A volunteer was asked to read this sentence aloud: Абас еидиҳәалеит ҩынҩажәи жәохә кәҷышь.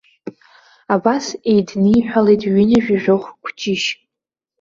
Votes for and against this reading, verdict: 1, 2, rejected